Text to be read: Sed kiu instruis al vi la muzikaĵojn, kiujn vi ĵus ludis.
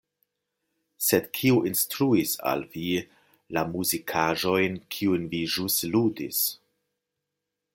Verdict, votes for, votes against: accepted, 2, 0